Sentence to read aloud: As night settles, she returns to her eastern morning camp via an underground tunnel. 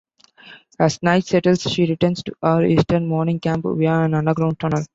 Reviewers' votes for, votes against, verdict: 2, 0, accepted